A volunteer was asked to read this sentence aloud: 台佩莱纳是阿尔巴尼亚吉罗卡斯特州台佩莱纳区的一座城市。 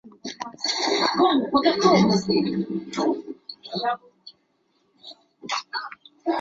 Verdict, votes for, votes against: rejected, 0, 2